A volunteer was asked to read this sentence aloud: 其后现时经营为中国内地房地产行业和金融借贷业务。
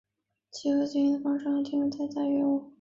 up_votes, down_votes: 2, 0